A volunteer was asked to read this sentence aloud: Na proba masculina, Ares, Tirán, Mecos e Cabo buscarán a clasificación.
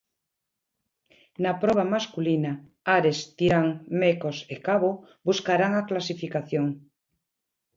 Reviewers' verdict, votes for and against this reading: accepted, 2, 0